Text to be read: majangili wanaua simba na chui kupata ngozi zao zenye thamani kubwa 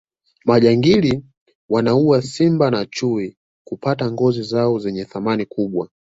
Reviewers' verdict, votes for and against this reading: accepted, 3, 0